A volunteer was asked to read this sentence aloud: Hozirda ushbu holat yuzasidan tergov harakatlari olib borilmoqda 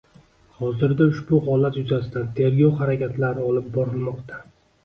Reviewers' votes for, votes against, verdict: 2, 0, accepted